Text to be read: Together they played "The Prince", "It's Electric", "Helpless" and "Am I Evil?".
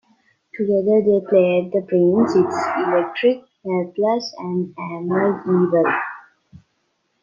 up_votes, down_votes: 1, 2